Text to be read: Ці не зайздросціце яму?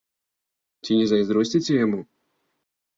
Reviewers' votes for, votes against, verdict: 2, 0, accepted